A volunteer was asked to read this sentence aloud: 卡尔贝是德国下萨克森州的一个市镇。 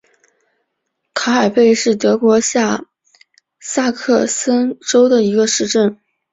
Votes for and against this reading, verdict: 2, 0, accepted